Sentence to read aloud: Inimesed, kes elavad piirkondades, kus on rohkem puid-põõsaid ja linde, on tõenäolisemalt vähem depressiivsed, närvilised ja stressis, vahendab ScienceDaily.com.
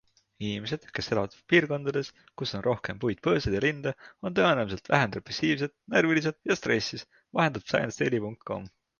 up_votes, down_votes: 2, 0